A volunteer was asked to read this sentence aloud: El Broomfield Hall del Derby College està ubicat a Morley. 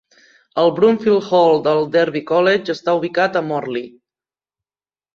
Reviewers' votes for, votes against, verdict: 2, 0, accepted